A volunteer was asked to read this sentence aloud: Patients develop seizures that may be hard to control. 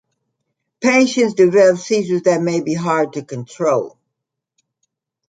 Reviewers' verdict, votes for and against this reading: accepted, 2, 1